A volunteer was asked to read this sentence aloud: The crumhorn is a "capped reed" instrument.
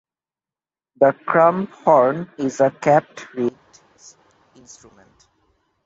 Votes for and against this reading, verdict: 0, 2, rejected